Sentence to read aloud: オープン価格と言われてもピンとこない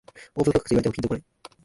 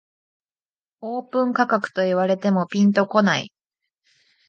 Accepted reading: second